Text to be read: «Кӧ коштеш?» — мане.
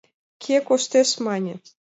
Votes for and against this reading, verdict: 2, 0, accepted